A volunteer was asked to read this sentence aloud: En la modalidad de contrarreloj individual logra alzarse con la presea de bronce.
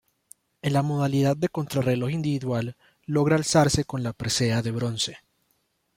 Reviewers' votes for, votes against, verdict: 1, 2, rejected